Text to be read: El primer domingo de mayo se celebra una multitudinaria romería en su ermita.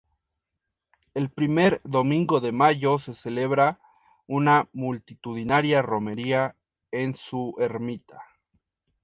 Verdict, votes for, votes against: accepted, 2, 0